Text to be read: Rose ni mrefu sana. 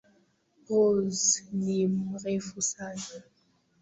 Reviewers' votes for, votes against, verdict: 0, 2, rejected